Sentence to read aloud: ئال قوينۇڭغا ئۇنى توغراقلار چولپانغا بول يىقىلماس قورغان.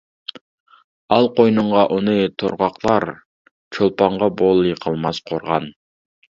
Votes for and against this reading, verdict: 0, 2, rejected